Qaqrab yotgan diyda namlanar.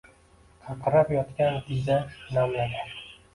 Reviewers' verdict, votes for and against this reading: rejected, 1, 2